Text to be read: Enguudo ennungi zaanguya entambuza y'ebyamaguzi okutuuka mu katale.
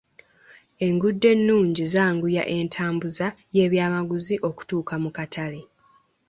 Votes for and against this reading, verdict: 2, 0, accepted